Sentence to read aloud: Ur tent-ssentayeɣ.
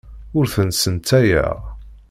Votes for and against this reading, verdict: 1, 2, rejected